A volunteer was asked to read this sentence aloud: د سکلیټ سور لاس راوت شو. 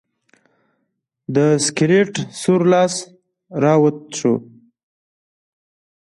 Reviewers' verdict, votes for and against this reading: accepted, 2, 0